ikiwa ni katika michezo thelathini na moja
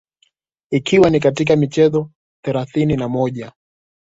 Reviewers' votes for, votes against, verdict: 2, 0, accepted